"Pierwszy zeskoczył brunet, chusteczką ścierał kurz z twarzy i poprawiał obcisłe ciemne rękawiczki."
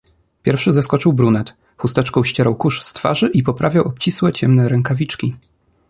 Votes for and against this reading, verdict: 2, 0, accepted